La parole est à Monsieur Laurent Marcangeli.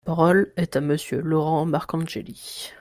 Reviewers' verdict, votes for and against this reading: rejected, 1, 2